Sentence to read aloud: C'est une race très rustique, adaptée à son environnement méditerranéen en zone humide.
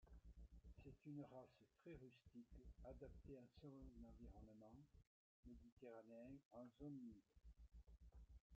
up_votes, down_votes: 0, 2